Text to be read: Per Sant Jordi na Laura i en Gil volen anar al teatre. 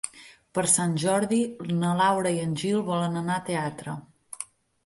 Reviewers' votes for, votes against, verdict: 0, 10, rejected